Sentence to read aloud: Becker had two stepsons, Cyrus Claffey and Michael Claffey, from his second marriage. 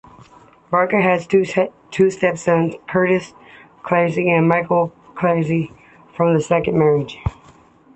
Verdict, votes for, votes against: accepted, 2, 1